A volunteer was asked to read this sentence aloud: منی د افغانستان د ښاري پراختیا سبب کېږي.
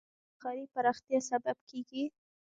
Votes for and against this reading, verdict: 2, 1, accepted